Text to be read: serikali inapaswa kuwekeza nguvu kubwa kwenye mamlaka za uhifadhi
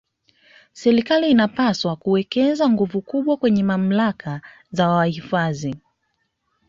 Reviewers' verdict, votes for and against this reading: accepted, 2, 1